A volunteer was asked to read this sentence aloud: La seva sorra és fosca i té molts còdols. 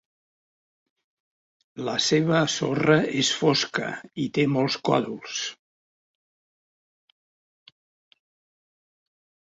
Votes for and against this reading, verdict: 0, 2, rejected